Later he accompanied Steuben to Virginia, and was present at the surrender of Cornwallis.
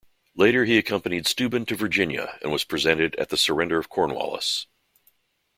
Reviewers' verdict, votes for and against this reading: accepted, 2, 0